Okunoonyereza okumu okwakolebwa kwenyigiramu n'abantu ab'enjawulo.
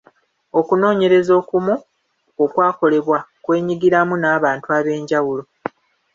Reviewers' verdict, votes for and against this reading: rejected, 1, 2